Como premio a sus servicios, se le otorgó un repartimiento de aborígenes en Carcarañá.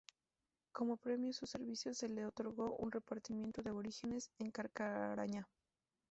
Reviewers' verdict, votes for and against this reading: rejected, 0, 4